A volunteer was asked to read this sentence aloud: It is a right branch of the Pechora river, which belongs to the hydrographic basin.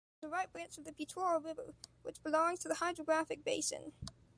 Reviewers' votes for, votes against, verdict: 1, 2, rejected